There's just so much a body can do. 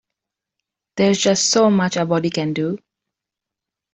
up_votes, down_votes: 2, 0